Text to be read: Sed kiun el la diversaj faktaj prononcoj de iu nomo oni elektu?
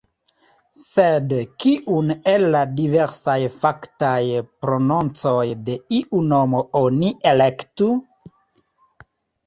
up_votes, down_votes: 0, 2